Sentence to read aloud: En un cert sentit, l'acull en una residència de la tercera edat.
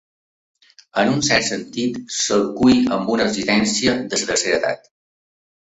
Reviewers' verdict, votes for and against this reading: rejected, 1, 2